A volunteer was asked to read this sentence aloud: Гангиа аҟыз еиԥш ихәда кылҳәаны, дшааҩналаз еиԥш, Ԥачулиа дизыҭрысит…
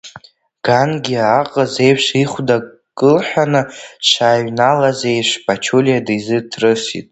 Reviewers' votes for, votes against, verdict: 1, 2, rejected